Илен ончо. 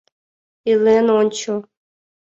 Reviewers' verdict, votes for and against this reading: accepted, 2, 0